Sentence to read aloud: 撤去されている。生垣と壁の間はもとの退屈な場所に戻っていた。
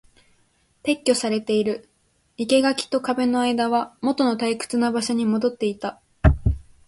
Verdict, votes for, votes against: accepted, 2, 0